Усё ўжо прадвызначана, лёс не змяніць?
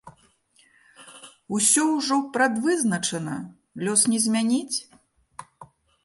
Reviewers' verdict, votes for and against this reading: accepted, 2, 0